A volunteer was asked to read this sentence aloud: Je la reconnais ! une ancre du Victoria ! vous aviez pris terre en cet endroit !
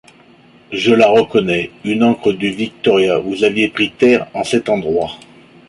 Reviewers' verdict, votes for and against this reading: accepted, 2, 1